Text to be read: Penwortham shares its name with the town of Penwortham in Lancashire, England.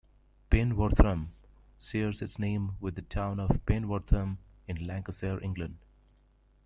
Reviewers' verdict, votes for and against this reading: rejected, 0, 2